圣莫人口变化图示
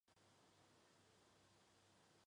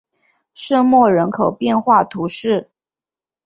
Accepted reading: second